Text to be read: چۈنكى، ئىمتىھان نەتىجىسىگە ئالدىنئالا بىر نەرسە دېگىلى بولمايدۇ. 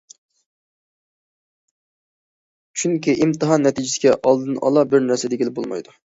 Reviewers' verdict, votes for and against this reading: accepted, 2, 0